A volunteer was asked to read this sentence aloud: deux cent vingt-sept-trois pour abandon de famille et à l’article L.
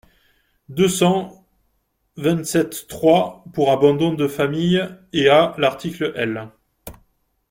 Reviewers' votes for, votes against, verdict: 2, 1, accepted